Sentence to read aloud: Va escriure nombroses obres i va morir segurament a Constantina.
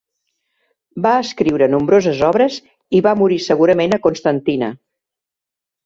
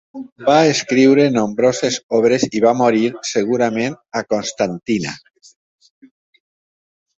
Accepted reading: first